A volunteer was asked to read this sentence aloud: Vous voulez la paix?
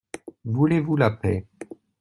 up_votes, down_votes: 1, 2